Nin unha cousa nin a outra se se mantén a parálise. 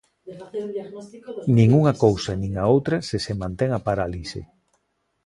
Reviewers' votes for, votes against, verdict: 0, 2, rejected